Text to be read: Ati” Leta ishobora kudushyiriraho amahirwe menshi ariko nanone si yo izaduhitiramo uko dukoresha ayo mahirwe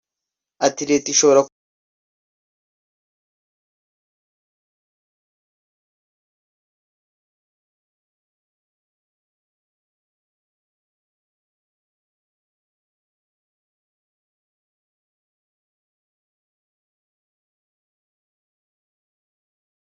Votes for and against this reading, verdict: 1, 2, rejected